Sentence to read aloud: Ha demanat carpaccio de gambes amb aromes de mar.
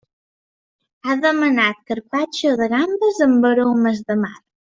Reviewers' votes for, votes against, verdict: 2, 0, accepted